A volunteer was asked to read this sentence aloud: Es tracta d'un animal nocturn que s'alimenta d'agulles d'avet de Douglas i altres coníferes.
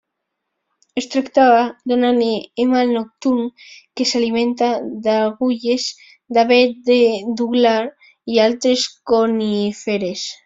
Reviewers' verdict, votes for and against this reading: rejected, 1, 2